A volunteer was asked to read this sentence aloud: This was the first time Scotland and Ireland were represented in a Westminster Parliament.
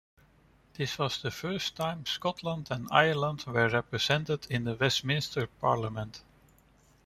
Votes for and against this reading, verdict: 2, 0, accepted